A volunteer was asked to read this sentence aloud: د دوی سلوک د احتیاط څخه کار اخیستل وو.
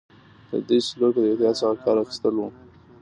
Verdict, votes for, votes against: accepted, 2, 0